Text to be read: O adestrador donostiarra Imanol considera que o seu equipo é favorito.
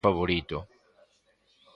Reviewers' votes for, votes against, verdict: 0, 2, rejected